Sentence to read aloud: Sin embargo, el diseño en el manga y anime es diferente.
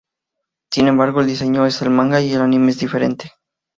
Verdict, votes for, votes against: rejected, 0, 2